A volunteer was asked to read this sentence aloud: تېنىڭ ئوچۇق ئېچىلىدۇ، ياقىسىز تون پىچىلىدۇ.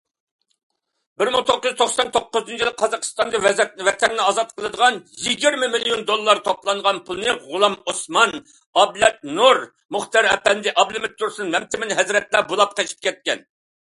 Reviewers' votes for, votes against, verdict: 0, 2, rejected